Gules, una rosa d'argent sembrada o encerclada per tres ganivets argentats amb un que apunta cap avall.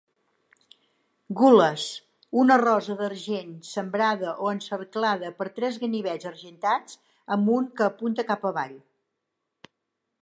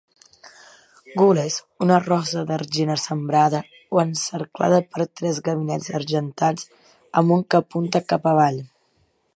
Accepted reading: first